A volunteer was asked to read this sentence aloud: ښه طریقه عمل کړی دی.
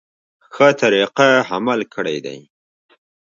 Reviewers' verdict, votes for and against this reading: accepted, 2, 1